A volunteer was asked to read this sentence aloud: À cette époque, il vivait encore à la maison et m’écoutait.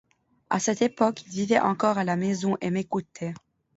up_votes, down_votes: 2, 0